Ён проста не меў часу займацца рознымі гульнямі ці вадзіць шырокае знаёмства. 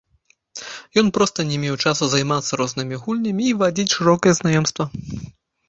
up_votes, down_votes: 0, 2